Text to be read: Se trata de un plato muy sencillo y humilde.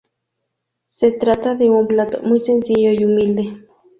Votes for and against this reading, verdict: 0, 2, rejected